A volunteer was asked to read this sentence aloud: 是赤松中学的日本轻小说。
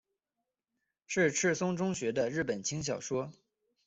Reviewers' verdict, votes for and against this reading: accepted, 2, 0